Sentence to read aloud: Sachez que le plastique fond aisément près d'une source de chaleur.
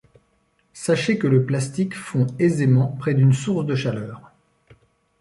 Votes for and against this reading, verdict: 1, 2, rejected